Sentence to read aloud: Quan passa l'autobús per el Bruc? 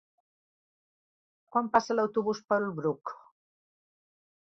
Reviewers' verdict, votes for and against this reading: accepted, 2, 0